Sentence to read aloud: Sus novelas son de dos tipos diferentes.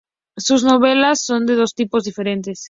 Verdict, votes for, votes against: accepted, 2, 0